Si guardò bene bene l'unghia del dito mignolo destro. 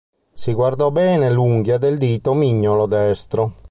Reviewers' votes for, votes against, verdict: 1, 2, rejected